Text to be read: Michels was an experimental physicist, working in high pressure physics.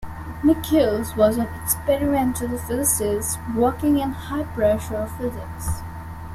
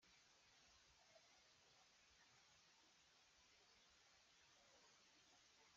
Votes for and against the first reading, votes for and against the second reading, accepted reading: 2, 0, 0, 2, first